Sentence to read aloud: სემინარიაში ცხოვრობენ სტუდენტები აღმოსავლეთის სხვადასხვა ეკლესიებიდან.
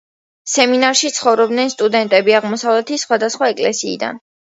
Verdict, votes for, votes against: rejected, 0, 2